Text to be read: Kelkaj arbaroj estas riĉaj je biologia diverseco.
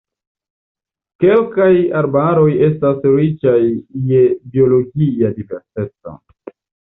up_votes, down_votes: 2, 0